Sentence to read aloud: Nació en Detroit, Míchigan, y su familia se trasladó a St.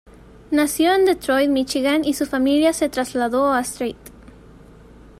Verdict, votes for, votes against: rejected, 1, 2